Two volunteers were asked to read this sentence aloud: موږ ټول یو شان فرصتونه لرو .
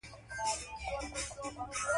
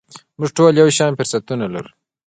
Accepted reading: second